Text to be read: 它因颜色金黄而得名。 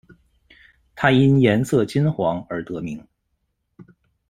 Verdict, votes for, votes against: accepted, 2, 0